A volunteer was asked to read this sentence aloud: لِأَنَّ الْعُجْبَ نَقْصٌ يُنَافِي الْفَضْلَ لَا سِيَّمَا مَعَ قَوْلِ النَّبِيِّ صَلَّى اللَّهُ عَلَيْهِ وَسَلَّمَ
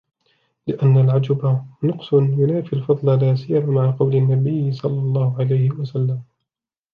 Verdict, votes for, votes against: rejected, 1, 2